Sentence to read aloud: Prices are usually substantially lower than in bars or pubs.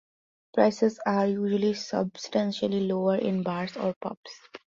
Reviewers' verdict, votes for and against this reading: rejected, 1, 2